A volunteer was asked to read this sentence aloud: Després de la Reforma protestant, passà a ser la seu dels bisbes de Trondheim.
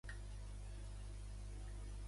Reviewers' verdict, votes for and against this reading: rejected, 0, 2